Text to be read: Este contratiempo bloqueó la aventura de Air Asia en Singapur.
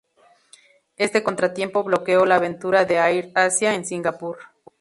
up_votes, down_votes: 4, 0